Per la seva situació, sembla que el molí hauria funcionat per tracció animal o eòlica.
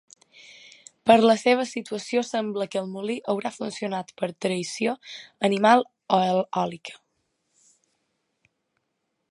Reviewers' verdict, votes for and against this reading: rejected, 0, 2